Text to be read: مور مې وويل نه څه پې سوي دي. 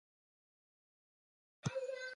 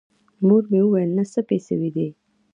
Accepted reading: second